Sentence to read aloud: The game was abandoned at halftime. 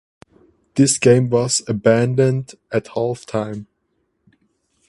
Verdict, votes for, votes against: rejected, 0, 4